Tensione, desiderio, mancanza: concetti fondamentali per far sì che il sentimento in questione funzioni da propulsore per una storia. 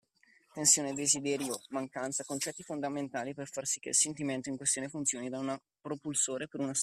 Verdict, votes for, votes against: rejected, 0, 2